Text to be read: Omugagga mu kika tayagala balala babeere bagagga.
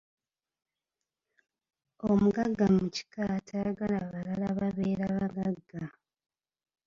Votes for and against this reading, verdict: 2, 1, accepted